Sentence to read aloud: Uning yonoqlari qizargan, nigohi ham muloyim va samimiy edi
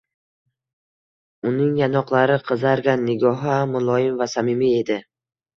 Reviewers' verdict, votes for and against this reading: accepted, 2, 0